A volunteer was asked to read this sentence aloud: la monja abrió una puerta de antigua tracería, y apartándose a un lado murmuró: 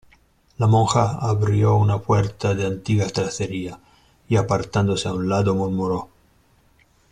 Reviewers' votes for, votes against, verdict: 1, 2, rejected